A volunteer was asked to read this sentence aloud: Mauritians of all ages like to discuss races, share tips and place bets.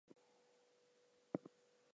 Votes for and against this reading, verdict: 0, 4, rejected